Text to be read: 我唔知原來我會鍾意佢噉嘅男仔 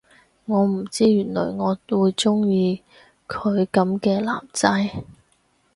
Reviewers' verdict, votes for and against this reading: accepted, 4, 0